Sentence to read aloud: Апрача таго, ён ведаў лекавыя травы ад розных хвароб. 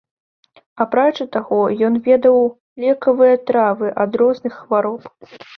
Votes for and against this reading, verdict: 0, 2, rejected